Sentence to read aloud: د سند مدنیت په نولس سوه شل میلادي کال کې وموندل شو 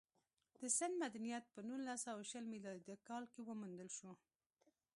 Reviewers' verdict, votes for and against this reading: accepted, 2, 1